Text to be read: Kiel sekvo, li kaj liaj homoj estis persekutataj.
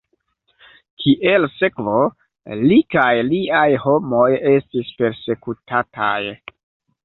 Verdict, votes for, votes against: rejected, 1, 2